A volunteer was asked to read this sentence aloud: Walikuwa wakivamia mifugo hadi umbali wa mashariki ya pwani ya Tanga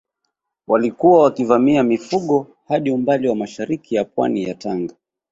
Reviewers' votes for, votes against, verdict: 2, 0, accepted